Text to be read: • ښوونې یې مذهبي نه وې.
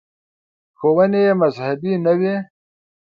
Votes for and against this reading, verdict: 3, 0, accepted